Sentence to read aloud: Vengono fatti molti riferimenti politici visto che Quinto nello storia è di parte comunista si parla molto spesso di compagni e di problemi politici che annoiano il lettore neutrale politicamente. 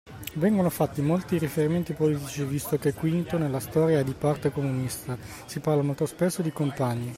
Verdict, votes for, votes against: rejected, 0, 2